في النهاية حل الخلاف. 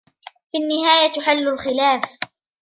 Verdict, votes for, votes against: rejected, 1, 2